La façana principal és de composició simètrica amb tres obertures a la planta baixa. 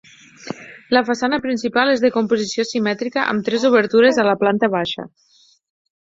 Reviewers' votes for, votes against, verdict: 6, 0, accepted